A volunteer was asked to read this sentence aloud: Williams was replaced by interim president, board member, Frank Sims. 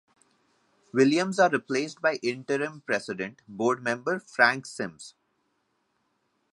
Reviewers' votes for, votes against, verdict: 1, 2, rejected